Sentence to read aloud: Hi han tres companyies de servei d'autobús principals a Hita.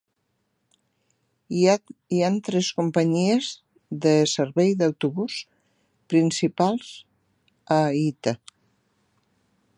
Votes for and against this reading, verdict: 1, 3, rejected